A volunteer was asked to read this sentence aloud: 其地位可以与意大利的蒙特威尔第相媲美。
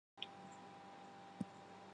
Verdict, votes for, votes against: rejected, 1, 3